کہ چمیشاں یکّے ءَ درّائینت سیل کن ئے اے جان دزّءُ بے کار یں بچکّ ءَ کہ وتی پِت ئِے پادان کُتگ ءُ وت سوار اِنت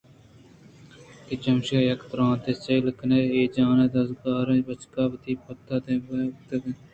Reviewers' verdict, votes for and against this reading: accepted, 2, 0